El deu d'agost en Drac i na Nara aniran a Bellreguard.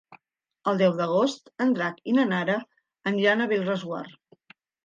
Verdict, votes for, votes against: rejected, 2, 3